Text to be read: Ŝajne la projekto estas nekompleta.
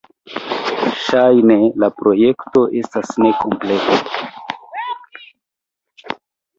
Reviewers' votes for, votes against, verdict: 1, 2, rejected